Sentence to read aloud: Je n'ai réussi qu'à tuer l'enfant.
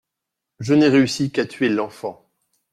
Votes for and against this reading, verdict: 2, 0, accepted